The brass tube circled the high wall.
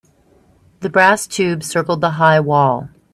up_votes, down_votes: 2, 0